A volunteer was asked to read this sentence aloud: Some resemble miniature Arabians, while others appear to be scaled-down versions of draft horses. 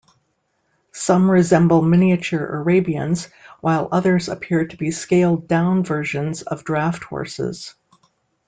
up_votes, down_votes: 2, 0